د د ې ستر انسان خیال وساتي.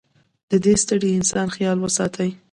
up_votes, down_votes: 0, 2